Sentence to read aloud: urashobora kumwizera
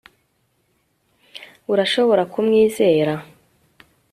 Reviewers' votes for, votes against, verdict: 2, 0, accepted